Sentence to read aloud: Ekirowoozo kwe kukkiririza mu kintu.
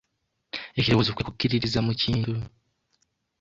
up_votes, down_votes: 0, 2